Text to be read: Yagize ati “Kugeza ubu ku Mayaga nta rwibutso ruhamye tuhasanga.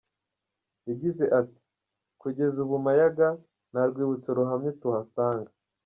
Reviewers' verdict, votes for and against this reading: rejected, 1, 2